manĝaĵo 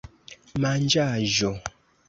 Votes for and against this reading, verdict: 2, 0, accepted